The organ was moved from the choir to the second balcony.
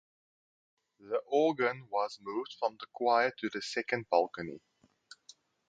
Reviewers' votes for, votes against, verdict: 4, 2, accepted